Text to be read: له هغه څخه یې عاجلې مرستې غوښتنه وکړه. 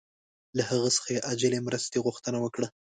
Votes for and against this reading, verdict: 2, 0, accepted